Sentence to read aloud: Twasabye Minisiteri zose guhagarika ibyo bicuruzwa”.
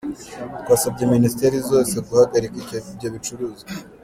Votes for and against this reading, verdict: 1, 2, rejected